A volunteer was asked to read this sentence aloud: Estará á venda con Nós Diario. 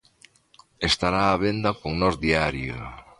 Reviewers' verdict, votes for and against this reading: accepted, 2, 0